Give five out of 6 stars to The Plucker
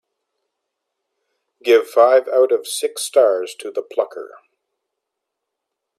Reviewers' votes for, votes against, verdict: 0, 2, rejected